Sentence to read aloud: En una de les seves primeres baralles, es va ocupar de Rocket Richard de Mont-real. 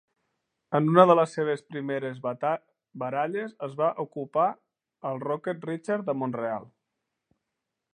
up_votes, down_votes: 0, 2